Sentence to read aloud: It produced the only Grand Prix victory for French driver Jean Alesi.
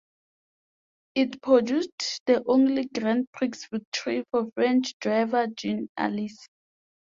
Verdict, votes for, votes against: accepted, 5, 4